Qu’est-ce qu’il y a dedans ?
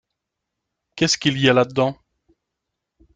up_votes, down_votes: 1, 2